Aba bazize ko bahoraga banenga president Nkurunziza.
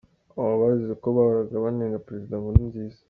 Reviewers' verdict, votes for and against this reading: accepted, 3, 0